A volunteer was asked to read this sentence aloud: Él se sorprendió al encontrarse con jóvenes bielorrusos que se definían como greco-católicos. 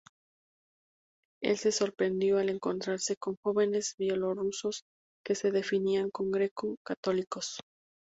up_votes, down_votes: 2, 4